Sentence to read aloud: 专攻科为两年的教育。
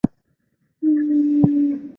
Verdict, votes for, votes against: rejected, 0, 3